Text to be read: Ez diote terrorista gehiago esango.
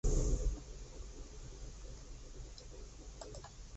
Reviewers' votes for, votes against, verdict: 0, 4, rejected